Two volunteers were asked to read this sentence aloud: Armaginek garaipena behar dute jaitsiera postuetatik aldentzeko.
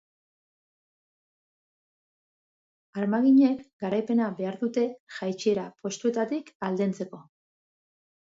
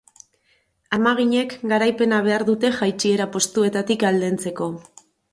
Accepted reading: first